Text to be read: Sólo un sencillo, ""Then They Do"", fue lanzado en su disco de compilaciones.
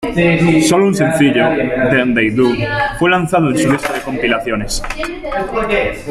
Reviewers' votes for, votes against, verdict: 3, 4, rejected